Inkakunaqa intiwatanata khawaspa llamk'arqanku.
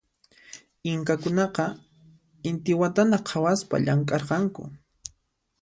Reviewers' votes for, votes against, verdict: 0, 2, rejected